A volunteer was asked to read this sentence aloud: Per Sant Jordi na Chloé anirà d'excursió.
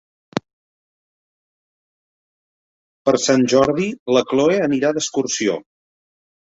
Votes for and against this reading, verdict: 1, 2, rejected